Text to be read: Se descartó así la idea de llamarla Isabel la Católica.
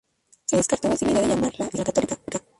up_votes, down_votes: 0, 2